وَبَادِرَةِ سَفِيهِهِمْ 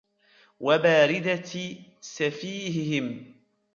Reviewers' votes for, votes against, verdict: 1, 2, rejected